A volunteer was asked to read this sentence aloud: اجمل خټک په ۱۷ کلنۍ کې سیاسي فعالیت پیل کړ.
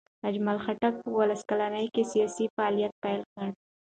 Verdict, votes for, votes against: rejected, 0, 2